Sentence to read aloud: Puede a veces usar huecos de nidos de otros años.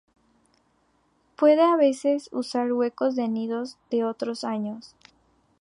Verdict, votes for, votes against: accepted, 2, 0